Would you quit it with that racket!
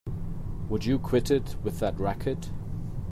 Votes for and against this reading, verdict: 2, 0, accepted